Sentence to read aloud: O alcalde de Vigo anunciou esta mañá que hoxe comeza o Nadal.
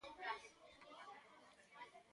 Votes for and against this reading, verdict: 0, 2, rejected